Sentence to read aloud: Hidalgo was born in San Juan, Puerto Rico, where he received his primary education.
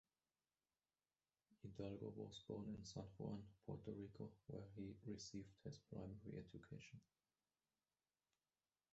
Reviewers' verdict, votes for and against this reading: rejected, 0, 2